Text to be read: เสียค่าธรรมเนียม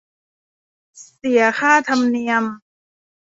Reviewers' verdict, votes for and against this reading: accepted, 2, 1